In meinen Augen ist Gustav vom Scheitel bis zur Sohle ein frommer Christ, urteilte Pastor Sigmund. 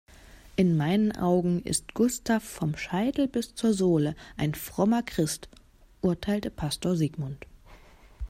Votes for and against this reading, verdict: 2, 0, accepted